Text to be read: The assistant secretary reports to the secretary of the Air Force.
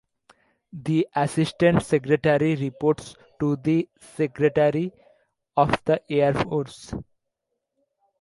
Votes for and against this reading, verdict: 2, 0, accepted